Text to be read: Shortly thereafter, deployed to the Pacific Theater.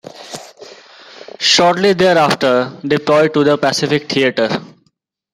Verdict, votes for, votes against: accepted, 2, 0